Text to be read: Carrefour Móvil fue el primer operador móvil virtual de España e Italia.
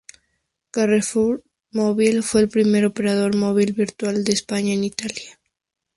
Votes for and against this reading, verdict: 0, 4, rejected